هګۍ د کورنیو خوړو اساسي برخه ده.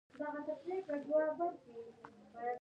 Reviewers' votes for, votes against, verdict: 1, 2, rejected